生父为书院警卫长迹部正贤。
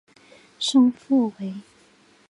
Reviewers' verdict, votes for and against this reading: rejected, 1, 3